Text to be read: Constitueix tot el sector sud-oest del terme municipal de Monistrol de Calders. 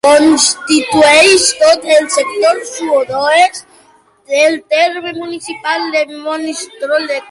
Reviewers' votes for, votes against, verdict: 0, 2, rejected